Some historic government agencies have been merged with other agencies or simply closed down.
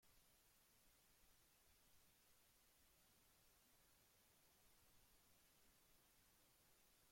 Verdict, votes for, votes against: rejected, 0, 2